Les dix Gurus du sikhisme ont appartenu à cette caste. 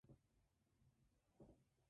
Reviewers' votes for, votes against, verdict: 1, 2, rejected